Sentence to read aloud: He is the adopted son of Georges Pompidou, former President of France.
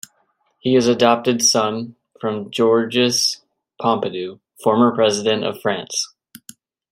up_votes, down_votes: 0, 2